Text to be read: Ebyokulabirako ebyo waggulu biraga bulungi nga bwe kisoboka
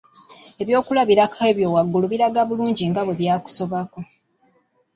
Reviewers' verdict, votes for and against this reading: rejected, 0, 2